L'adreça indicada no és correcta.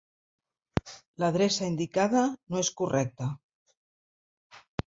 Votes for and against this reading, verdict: 2, 0, accepted